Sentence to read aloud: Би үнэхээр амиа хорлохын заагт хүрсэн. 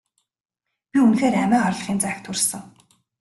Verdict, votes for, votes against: rejected, 0, 2